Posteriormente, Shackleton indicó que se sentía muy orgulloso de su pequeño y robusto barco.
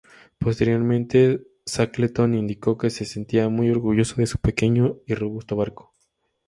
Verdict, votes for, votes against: accepted, 2, 0